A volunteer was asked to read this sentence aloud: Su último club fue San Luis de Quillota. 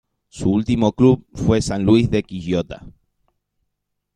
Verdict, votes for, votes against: accepted, 2, 0